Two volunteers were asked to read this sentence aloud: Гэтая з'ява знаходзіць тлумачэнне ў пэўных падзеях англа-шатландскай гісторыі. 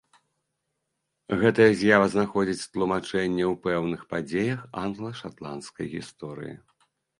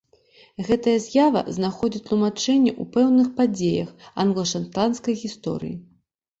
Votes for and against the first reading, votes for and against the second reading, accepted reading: 2, 0, 1, 2, first